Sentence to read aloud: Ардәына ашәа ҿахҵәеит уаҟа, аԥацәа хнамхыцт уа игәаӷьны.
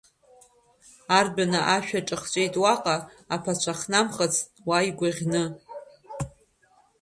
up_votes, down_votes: 2, 1